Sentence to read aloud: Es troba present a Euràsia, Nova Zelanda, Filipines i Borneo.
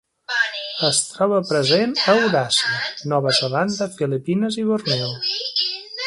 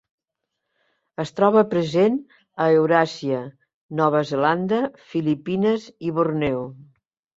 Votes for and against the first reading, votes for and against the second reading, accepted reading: 0, 4, 2, 0, second